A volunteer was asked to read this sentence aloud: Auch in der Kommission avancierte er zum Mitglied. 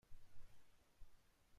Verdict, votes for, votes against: rejected, 0, 2